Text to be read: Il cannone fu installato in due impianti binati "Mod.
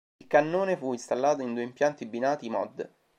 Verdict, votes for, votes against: accepted, 2, 0